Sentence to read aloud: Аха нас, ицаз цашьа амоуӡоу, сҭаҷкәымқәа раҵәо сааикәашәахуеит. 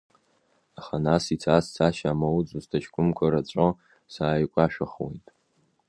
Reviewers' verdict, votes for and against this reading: rejected, 1, 2